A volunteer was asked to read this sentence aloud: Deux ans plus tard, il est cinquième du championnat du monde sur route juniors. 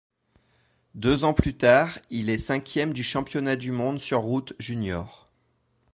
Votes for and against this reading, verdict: 2, 0, accepted